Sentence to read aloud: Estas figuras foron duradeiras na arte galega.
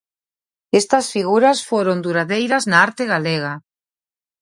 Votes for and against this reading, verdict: 2, 0, accepted